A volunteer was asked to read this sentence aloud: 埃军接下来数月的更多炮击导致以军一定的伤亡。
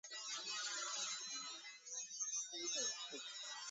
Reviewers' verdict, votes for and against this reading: accepted, 3, 2